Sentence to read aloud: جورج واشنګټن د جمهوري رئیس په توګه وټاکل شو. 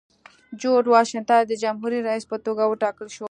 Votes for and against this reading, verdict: 2, 0, accepted